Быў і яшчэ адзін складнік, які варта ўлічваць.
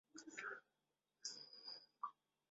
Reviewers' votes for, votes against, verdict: 0, 2, rejected